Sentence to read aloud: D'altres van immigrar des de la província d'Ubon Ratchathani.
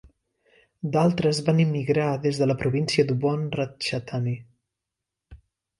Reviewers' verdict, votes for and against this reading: accepted, 3, 0